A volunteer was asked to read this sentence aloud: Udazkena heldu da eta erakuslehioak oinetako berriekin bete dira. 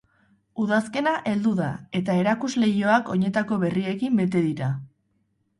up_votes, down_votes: 6, 0